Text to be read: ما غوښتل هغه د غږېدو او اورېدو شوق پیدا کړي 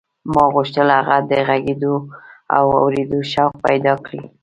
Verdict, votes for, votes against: rejected, 1, 2